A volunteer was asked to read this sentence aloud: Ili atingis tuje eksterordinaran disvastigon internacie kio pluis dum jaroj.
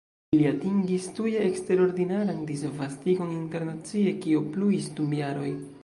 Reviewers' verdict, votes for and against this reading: rejected, 0, 2